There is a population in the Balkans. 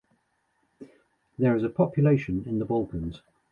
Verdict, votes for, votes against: accepted, 2, 1